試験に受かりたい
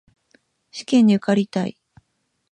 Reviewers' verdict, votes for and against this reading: accepted, 2, 0